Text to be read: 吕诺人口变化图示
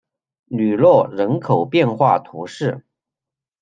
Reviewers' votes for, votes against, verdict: 2, 0, accepted